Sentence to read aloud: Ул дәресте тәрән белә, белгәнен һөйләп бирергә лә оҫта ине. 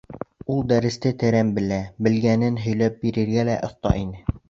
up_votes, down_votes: 2, 0